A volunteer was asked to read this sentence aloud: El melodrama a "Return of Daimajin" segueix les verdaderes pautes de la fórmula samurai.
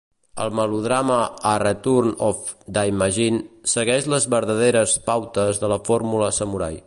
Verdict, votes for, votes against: accepted, 2, 0